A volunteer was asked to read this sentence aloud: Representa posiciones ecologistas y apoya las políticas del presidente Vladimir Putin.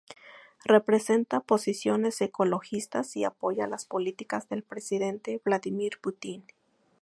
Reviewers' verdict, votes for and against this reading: accepted, 2, 0